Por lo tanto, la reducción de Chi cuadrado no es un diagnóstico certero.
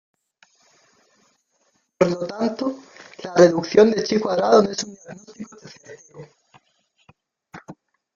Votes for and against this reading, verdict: 0, 2, rejected